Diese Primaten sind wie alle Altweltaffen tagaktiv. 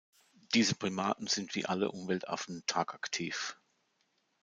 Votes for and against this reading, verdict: 2, 3, rejected